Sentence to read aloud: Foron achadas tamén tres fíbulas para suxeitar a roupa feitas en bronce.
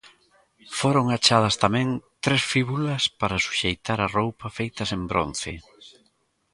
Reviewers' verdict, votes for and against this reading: accepted, 2, 0